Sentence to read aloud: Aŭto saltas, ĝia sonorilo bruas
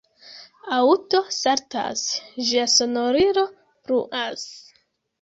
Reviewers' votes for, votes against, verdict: 0, 2, rejected